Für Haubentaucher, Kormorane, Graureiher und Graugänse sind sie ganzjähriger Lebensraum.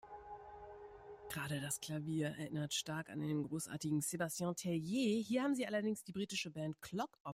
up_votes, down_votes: 0, 2